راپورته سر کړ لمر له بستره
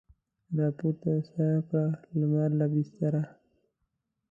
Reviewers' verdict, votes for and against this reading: accepted, 2, 0